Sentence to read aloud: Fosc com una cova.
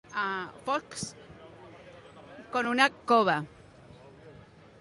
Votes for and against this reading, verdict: 1, 2, rejected